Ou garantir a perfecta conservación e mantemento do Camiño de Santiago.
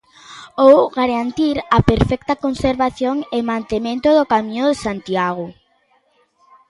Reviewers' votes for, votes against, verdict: 2, 0, accepted